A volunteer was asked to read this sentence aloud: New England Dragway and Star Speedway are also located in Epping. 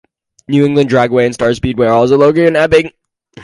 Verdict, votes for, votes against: accepted, 4, 2